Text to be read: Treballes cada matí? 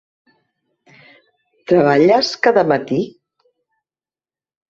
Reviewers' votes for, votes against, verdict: 3, 0, accepted